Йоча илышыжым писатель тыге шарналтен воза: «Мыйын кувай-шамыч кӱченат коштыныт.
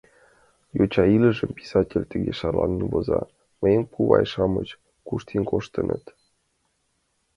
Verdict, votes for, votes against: rejected, 0, 2